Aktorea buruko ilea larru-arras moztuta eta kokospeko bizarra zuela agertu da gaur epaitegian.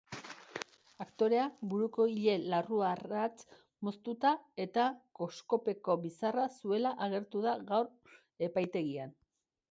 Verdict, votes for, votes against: rejected, 1, 3